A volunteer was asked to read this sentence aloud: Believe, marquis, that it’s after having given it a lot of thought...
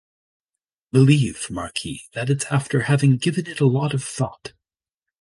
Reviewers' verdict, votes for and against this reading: accepted, 2, 0